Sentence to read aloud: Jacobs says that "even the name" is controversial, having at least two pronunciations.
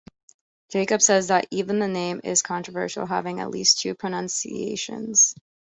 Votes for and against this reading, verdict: 2, 0, accepted